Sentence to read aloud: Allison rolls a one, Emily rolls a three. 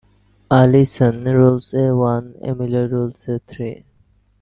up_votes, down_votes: 1, 2